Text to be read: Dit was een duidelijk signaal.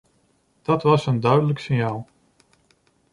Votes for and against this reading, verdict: 1, 2, rejected